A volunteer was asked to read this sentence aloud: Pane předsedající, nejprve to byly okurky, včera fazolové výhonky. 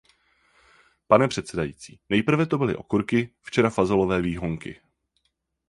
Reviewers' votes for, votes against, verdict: 4, 0, accepted